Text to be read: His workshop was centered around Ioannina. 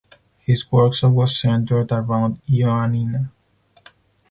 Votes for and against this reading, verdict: 2, 4, rejected